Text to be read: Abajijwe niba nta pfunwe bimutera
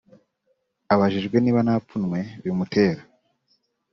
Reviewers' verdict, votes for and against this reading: accepted, 2, 0